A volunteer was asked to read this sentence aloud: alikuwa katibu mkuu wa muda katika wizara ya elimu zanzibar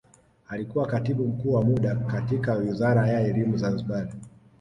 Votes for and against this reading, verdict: 2, 0, accepted